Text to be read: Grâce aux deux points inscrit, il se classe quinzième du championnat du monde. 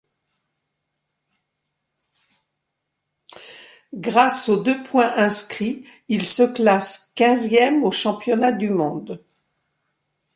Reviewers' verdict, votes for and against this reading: rejected, 1, 2